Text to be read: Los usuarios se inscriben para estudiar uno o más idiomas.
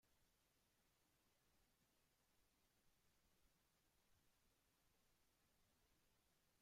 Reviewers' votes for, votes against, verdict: 0, 2, rejected